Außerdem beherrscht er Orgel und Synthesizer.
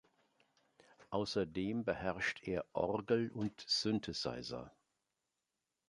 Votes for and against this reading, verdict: 3, 0, accepted